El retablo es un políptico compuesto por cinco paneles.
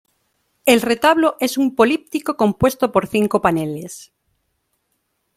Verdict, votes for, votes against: accepted, 2, 0